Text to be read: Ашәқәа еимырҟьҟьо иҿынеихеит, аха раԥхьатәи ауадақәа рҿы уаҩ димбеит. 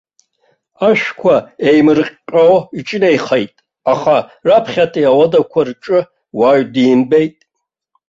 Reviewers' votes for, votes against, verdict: 2, 0, accepted